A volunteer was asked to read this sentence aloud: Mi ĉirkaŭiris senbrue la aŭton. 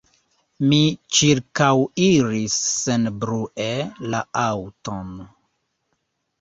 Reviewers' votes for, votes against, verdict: 2, 1, accepted